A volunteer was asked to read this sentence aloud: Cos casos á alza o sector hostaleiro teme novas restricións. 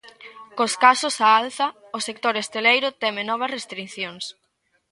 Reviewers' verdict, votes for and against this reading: rejected, 1, 2